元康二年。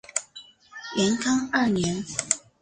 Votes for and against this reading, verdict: 6, 0, accepted